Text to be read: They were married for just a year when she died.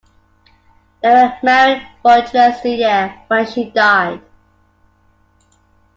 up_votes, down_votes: 1, 2